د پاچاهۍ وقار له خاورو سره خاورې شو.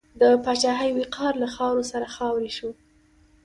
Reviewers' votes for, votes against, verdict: 2, 0, accepted